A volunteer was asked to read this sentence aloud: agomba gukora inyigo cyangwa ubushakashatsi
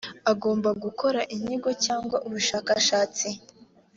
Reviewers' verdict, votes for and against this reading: accepted, 3, 0